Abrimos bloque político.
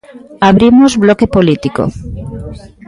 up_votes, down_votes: 2, 1